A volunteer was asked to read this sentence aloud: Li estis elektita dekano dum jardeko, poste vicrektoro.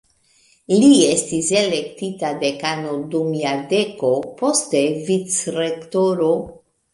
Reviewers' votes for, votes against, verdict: 3, 2, accepted